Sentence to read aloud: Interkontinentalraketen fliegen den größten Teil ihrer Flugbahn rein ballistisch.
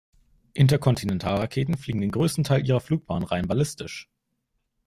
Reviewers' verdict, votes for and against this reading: accepted, 2, 0